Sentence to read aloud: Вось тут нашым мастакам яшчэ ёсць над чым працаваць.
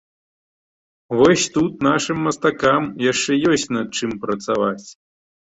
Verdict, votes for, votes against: accepted, 2, 0